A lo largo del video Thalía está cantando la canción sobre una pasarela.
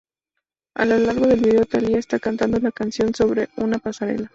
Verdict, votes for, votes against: accepted, 4, 0